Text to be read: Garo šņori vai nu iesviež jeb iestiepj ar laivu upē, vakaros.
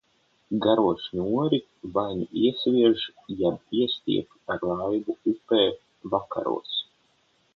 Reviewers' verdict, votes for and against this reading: accepted, 6, 0